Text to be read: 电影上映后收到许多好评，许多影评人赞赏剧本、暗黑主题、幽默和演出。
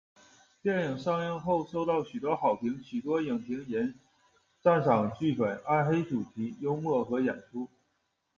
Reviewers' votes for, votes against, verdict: 2, 0, accepted